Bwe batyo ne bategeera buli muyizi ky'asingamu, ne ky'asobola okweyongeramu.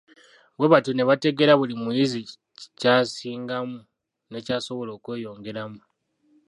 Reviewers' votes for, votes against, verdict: 0, 2, rejected